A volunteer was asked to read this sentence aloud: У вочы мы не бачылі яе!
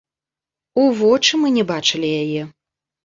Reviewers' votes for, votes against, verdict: 2, 0, accepted